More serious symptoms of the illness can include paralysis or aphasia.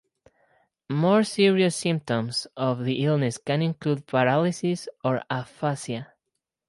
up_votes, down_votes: 0, 4